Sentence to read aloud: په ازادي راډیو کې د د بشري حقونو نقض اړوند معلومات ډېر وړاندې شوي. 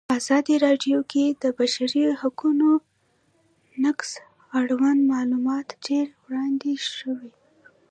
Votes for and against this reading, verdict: 2, 0, accepted